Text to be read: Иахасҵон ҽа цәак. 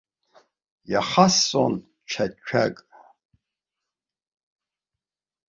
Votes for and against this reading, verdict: 2, 1, accepted